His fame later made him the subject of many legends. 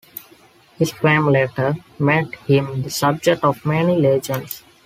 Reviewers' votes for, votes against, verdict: 2, 0, accepted